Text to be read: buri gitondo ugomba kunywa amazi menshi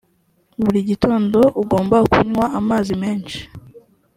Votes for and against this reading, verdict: 2, 0, accepted